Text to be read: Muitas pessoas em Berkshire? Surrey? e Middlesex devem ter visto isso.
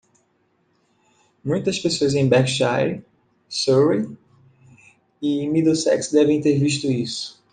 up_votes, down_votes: 2, 0